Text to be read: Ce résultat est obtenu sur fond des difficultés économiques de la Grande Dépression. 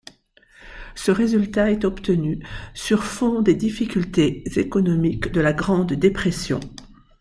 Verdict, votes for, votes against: accepted, 2, 0